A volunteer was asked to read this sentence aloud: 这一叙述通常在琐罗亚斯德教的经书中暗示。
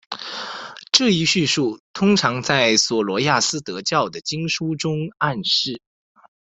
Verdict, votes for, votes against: accepted, 2, 1